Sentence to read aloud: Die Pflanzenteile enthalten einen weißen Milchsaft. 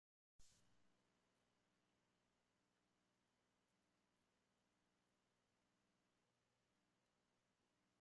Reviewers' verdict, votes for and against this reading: rejected, 0, 2